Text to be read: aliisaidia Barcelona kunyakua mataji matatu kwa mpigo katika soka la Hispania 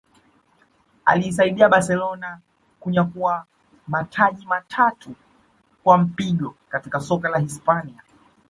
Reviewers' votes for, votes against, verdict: 0, 2, rejected